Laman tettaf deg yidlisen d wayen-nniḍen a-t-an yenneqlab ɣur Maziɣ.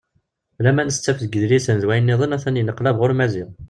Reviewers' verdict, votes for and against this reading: accepted, 2, 0